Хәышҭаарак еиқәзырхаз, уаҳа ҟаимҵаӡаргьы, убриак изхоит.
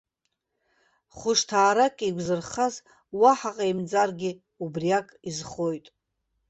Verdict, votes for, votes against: rejected, 1, 2